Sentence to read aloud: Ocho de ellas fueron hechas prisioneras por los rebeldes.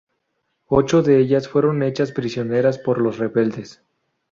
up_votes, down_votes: 2, 0